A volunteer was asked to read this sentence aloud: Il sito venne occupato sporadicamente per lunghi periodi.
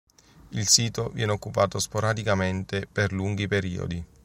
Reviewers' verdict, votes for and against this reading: rejected, 1, 2